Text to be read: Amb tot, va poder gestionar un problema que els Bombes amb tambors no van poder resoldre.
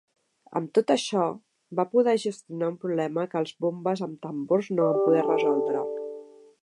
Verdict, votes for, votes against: rejected, 0, 3